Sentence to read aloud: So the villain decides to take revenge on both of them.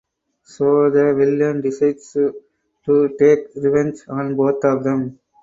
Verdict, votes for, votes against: rejected, 0, 4